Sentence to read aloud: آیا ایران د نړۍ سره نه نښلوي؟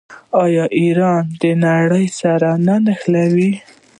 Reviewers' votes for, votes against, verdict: 1, 2, rejected